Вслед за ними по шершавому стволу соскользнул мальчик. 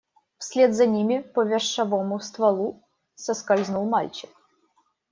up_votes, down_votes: 1, 2